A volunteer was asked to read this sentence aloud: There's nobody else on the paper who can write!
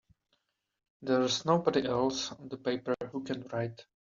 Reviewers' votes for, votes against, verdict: 1, 2, rejected